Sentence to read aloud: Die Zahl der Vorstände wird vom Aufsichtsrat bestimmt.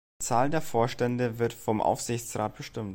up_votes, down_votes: 1, 2